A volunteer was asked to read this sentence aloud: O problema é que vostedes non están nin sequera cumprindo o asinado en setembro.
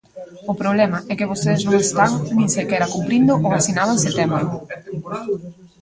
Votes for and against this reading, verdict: 0, 2, rejected